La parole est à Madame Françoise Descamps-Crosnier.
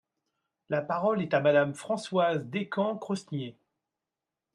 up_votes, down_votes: 2, 0